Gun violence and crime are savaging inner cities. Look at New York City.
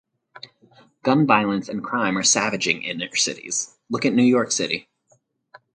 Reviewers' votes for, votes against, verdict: 2, 2, rejected